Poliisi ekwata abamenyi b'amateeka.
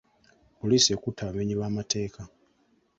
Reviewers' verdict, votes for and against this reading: rejected, 1, 2